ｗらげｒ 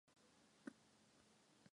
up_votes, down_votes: 1, 9